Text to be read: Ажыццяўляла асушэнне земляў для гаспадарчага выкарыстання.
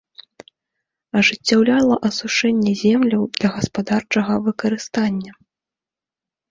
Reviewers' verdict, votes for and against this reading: accepted, 2, 0